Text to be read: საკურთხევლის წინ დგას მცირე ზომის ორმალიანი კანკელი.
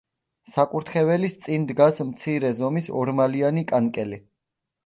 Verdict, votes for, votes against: rejected, 1, 2